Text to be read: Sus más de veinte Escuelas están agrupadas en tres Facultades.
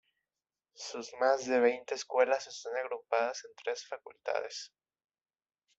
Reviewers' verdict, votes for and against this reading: accepted, 2, 1